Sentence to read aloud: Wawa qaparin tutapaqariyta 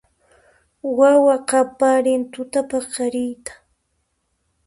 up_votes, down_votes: 2, 0